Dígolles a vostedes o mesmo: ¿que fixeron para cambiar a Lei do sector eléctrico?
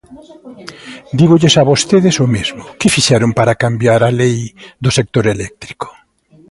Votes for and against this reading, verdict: 2, 0, accepted